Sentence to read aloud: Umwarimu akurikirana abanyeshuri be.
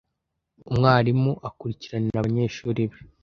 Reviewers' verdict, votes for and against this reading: rejected, 0, 2